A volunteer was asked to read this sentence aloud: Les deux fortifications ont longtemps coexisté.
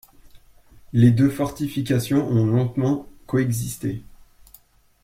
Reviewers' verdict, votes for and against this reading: rejected, 1, 2